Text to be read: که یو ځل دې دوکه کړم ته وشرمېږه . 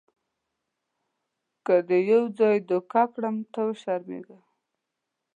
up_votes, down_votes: 1, 2